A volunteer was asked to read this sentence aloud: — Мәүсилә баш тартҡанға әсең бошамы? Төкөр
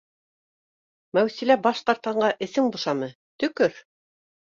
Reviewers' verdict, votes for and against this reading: accepted, 2, 0